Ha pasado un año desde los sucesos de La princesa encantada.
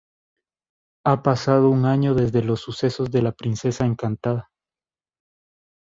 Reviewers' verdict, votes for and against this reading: accepted, 2, 0